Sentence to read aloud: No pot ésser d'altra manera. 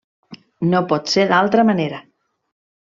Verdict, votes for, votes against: rejected, 0, 2